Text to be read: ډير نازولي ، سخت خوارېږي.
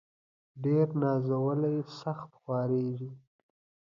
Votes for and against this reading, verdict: 2, 1, accepted